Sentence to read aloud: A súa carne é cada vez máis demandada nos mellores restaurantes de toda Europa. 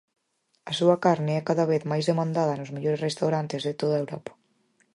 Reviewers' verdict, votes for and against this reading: accepted, 4, 0